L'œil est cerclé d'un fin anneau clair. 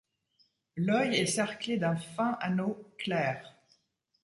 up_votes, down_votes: 2, 0